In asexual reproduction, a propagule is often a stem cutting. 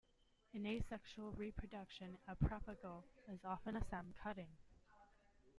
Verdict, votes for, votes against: accepted, 2, 1